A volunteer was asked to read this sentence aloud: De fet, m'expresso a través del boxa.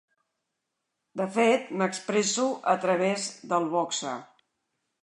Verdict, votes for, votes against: accepted, 2, 0